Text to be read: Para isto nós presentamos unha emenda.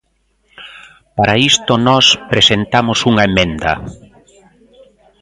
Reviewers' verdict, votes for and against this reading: accepted, 2, 0